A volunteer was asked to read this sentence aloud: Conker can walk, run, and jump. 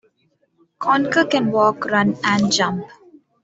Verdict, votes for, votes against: accepted, 2, 0